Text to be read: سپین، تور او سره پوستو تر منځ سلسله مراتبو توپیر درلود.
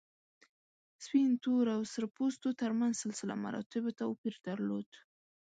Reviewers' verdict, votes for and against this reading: rejected, 1, 2